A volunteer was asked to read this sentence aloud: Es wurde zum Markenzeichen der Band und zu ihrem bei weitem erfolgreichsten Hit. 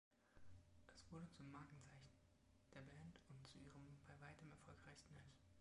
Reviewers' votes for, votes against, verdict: 1, 2, rejected